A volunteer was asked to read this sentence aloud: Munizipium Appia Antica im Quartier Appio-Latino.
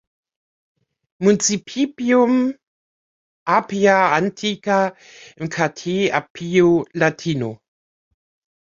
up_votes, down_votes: 0, 2